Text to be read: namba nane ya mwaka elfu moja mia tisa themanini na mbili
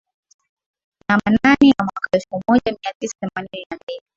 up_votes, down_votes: 2, 3